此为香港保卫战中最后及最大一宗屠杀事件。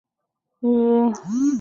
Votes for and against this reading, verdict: 1, 5, rejected